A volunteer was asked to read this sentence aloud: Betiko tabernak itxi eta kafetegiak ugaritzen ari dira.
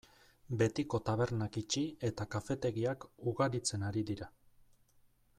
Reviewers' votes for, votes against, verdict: 2, 0, accepted